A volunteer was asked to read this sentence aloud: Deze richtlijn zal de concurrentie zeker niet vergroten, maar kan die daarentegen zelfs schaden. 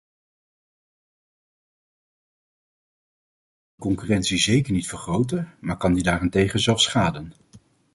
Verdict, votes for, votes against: rejected, 1, 2